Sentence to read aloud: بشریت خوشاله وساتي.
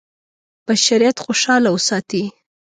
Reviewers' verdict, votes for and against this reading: accepted, 2, 0